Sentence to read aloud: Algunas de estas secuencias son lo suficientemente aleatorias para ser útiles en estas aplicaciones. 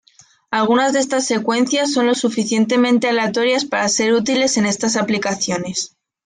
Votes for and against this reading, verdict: 2, 0, accepted